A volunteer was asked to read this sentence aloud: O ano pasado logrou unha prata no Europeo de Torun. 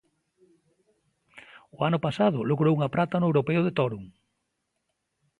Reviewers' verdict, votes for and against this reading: accepted, 2, 0